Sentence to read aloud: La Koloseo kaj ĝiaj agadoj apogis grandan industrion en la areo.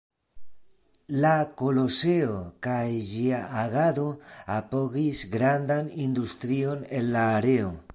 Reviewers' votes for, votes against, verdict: 0, 2, rejected